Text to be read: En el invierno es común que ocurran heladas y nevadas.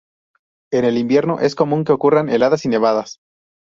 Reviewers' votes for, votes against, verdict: 4, 0, accepted